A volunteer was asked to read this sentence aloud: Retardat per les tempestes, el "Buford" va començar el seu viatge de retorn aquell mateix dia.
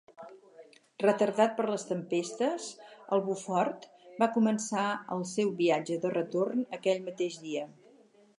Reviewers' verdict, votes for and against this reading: accepted, 4, 0